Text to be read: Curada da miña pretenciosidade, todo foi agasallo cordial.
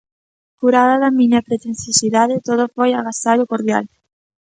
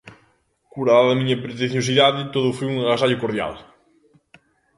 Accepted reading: first